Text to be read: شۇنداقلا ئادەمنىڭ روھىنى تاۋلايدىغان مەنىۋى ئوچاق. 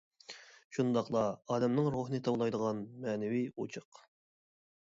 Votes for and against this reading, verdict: 1, 2, rejected